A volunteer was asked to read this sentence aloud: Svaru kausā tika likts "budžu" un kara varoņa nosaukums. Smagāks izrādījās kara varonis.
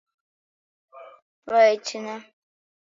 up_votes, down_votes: 0, 2